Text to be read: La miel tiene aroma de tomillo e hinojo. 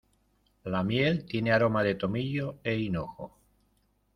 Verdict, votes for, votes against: accepted, 2, 0